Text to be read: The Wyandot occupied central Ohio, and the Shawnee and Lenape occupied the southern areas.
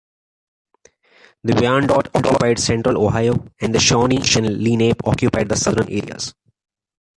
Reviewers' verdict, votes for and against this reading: accepted, 2, 0